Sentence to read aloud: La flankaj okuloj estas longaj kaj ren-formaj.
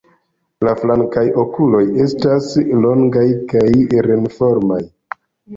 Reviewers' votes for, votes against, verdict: 2, 0, accepted